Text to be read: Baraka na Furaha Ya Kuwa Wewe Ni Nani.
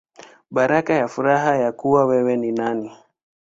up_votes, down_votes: 1, 2